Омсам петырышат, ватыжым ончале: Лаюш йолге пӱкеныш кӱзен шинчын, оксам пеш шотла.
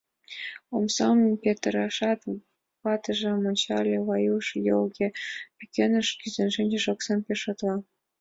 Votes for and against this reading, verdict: 2, 1, accepted